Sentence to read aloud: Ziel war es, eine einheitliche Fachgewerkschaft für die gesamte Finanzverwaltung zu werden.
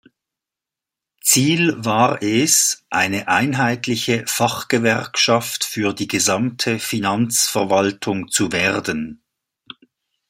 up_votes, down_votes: 2, 0